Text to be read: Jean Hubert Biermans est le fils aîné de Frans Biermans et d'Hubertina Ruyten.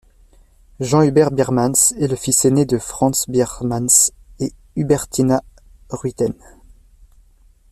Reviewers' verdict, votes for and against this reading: accepted, 2, 0